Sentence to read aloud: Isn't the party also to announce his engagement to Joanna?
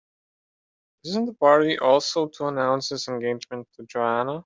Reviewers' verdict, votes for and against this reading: accepted, 2, 0